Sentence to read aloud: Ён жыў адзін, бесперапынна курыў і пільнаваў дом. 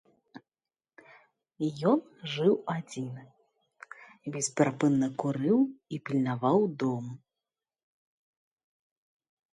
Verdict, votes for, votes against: accepted, 2, 0